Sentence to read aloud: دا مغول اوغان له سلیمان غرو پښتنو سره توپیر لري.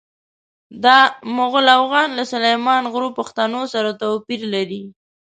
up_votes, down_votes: 0, 2